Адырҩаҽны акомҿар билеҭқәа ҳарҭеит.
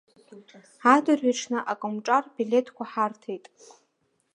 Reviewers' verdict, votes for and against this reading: accepted, 2, 1